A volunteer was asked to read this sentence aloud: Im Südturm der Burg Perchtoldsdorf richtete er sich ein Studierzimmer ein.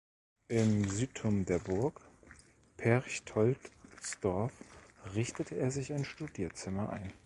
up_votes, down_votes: 1, 2